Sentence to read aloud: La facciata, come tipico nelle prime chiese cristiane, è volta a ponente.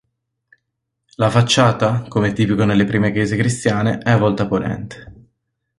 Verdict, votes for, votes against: accepted, 2, 0